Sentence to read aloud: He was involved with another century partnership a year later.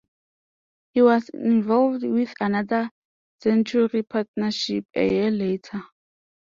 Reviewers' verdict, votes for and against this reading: accepted, 2, 0